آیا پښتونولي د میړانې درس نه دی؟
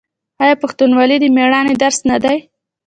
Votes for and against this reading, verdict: 2, 1, accepted